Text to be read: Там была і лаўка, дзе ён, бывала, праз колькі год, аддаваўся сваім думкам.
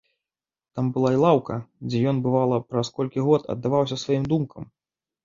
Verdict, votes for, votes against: accepted, 2, 0